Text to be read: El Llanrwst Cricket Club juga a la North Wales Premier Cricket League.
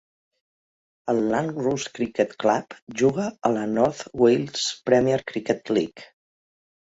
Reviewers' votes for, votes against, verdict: 2, 0, accepted